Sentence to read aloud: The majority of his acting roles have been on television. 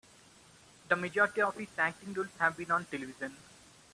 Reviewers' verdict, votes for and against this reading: rejected, 0, 2